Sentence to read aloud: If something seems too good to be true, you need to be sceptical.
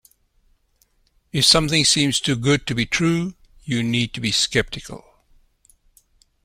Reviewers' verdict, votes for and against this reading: accepted, 2, 0